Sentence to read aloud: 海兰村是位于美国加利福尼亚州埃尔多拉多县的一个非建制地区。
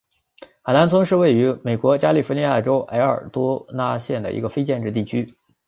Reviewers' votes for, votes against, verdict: 7, 0, accepted